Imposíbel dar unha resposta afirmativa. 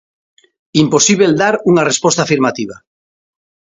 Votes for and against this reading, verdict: 2, 0, accepted